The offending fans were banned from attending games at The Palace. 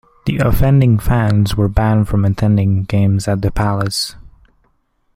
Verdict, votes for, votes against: accepted, 2, 1